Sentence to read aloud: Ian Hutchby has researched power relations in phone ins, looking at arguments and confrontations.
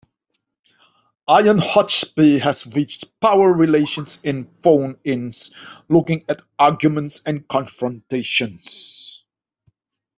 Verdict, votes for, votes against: rejected, 1, 2